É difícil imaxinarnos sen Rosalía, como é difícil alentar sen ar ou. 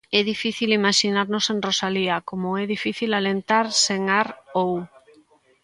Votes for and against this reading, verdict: 1, 2, rejected